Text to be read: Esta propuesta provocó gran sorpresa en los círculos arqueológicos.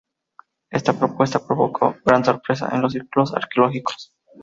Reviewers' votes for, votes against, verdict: 2, 0, accepted